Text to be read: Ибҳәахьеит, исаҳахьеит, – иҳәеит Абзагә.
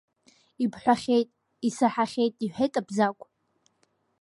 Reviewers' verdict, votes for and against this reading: accepted, 2, 0